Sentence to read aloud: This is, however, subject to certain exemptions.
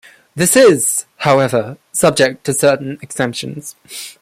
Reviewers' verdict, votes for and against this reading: rejected, 0, 2